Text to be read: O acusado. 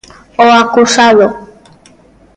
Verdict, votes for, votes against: accepted, 2, 1